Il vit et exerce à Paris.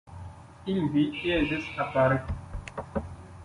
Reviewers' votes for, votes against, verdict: 2, 0, accepted